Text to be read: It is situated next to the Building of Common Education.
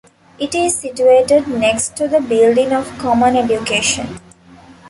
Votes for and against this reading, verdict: 2, 0, accepted